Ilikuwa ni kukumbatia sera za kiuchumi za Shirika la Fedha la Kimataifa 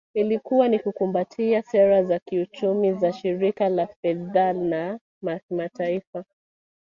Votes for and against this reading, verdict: 1, 2, rejected